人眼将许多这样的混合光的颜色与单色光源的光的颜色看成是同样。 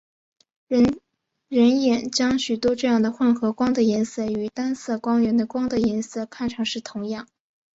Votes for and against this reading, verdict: 6, 0, accepted